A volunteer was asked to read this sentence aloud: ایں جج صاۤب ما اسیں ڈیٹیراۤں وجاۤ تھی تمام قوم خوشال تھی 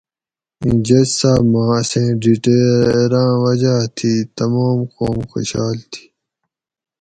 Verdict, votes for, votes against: accepted, 4, 0